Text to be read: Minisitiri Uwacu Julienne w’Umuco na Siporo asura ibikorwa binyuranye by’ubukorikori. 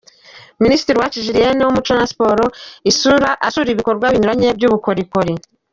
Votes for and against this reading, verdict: 0, 2, rejected